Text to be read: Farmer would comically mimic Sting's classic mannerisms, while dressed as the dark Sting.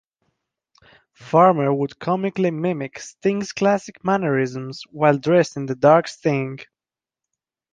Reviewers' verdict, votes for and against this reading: rejected, 0, 2